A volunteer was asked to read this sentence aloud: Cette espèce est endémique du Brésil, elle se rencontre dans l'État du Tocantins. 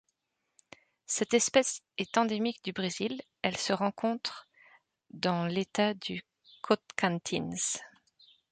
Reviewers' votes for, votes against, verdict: 1, 2, rejected